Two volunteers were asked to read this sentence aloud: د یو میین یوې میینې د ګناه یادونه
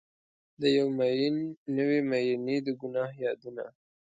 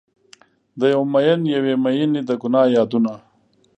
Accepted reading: second